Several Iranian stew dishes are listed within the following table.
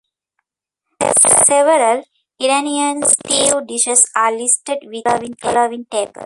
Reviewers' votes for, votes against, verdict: 1, 2, rejected